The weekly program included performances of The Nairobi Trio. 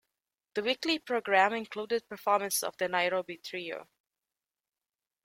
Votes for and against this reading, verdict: 1, 2, rejected